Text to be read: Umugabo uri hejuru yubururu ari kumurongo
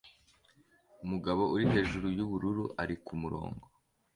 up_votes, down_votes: 2, 0